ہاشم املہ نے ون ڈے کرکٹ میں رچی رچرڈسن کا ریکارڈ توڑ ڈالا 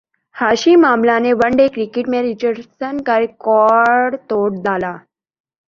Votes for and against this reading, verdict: 2, 1, accepted